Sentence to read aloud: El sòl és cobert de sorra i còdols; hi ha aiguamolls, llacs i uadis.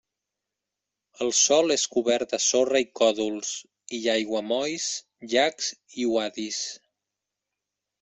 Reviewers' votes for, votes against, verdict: 2, 0, accepted